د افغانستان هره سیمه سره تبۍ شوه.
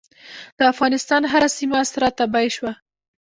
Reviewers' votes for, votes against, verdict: 0, 2, rejected